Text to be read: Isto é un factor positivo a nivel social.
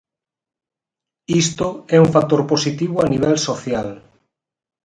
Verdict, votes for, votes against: accepted, 4, 0